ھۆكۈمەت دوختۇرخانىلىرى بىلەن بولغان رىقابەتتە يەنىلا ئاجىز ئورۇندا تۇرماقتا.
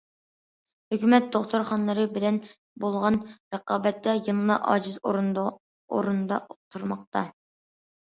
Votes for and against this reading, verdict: 0, 2, rejected